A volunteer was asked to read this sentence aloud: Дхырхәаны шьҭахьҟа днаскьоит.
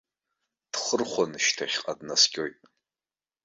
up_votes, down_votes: 1, 2